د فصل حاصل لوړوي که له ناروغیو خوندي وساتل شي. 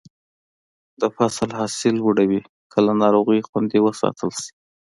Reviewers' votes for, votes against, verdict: 2, 1, accepted